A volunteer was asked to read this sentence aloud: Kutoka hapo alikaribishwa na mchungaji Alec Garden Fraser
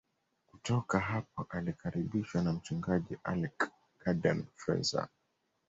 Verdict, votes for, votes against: accepted, 2, 1